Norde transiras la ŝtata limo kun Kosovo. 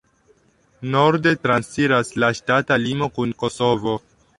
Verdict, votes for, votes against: accepted, 3, 1